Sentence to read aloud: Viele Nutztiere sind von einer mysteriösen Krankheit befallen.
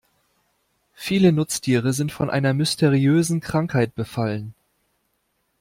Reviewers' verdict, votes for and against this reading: accepted, 2, 0